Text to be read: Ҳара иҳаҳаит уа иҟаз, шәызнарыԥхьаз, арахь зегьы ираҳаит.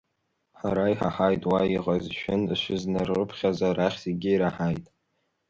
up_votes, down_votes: 1, 2